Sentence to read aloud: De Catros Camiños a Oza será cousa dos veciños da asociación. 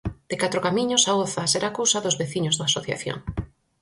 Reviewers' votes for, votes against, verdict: 4, 0, accepted